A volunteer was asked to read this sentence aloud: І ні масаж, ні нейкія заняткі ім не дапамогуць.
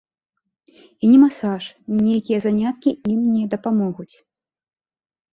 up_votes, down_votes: 2, 0